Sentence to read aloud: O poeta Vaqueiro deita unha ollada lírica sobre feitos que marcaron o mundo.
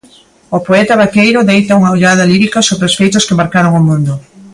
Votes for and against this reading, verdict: 0, 2, rejected